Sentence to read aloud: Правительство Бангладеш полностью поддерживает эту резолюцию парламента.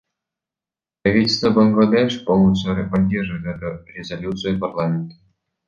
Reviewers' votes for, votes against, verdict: 0, 2, rejected